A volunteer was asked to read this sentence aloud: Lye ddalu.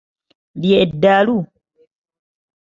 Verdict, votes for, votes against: accepted, 2, 0